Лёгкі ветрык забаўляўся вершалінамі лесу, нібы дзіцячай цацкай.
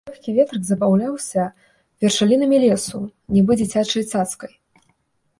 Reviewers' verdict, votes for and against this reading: rejected, 1, 2